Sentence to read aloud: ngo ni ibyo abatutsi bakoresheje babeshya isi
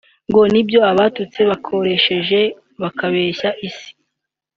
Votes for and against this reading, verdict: 1, 2, rejected